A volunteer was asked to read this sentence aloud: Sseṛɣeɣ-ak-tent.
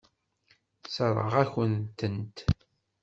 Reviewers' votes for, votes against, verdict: 1, 2, rejected